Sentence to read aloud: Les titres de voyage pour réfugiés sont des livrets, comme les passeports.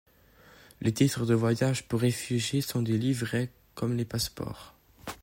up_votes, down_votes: 2, 0